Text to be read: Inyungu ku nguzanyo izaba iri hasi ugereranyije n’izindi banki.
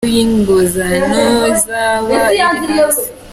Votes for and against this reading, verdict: 0, 2, rejected